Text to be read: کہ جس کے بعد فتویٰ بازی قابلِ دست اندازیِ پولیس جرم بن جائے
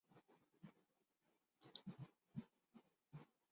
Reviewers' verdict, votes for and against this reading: rejected, 0, 2